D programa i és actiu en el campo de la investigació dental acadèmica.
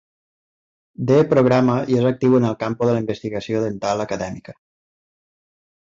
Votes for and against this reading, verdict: 0, 2, rejected